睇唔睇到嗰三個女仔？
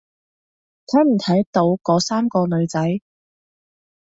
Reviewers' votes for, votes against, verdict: 2, 0, accepted